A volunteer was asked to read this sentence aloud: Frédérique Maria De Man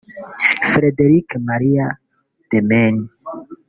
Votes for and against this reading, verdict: 1, 2, rejected